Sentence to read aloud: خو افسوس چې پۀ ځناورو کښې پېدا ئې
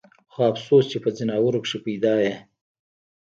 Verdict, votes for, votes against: rejected, 1, 2